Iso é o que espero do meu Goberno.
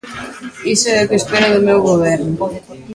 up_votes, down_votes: 0, 2